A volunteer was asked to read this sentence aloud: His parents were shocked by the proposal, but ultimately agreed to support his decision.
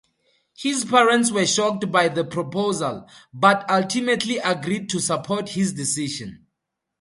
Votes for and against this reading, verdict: 2, 0, accepted